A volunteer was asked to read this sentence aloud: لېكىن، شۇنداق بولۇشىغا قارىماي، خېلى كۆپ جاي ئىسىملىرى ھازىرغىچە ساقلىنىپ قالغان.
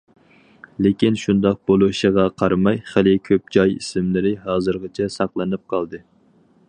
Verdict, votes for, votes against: rejected, 2, 2